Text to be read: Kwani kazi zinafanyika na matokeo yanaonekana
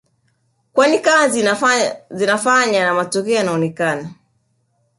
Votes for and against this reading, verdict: 2, 0, accepted